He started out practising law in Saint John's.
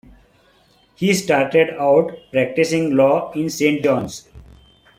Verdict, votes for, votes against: accepted, 2, 0